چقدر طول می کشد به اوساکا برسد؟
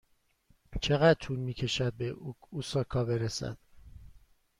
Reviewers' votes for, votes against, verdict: 2, 1, accepted